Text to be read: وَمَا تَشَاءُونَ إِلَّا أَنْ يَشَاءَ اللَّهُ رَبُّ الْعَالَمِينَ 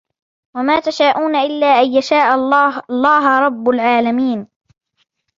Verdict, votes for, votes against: rejected, 1, 2